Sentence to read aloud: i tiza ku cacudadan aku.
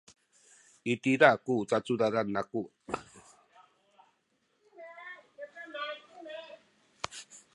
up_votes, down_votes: 1, 2